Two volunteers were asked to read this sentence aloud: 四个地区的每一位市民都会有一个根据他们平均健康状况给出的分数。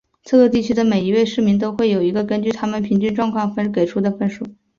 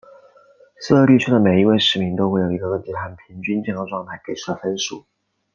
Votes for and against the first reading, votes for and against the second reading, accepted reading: 7, 0, 0, 2, first